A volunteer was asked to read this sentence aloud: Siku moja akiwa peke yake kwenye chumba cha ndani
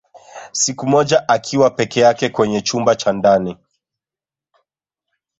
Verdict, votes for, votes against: rejected, 1, 2